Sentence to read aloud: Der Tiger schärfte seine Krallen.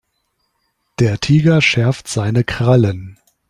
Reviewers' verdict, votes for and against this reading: rejected, 0, 3